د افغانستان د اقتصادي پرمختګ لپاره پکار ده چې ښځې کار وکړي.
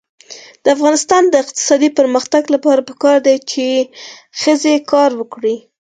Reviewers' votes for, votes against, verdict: 4, 0, accepted